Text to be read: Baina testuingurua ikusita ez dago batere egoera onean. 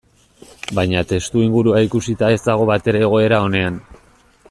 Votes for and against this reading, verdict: 2, 0, accepted